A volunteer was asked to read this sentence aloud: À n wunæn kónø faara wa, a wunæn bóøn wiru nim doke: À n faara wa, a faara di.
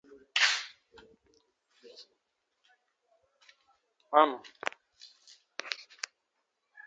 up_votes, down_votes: 0, 2